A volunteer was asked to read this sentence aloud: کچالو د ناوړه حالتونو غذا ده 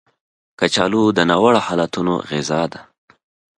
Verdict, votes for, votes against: accepted, 5, 1